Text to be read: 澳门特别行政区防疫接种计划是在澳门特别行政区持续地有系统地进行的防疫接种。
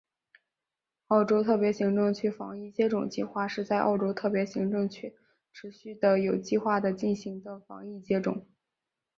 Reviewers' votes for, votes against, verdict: 1, 2, rejected